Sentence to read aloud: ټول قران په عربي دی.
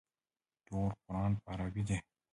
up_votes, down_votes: 1, 2